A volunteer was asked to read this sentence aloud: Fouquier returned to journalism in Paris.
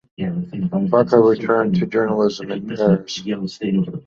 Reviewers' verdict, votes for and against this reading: rejected, 0, 3